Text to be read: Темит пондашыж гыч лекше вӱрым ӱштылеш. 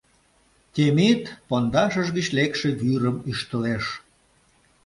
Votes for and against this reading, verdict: 2, 0, accepted